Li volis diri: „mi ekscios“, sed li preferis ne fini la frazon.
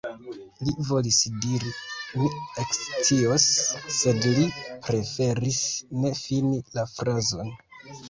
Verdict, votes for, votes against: accepted, 2, 0